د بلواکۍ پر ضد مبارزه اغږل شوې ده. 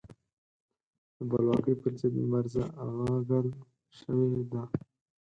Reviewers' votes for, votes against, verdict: 4, 6, rejected